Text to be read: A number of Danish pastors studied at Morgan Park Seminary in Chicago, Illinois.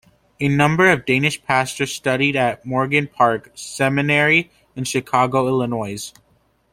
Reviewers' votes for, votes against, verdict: 2, 0, accepted